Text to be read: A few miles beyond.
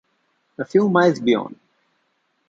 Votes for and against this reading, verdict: 2, 0, accepted